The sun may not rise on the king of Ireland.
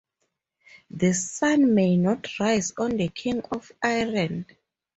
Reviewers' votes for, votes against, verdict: 2, 2, rejected